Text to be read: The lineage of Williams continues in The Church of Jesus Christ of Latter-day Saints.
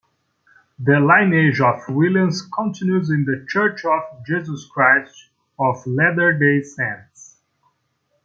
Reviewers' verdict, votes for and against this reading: accepted, 2, 0